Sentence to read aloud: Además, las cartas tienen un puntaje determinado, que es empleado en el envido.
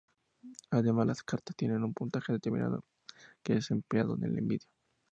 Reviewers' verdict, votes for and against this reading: accepted, 2, 0